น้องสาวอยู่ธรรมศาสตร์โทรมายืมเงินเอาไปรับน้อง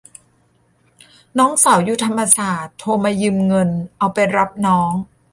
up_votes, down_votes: 2, 0